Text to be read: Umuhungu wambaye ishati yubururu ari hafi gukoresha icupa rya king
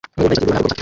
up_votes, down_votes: 0, 2